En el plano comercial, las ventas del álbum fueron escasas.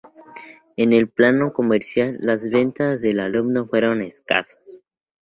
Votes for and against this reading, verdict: 4, 0, accepted